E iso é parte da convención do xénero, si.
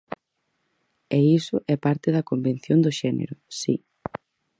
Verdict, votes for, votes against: accepted, 4, 0